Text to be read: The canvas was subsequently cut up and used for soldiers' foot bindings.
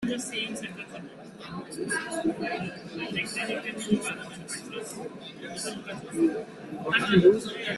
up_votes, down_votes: 0, 2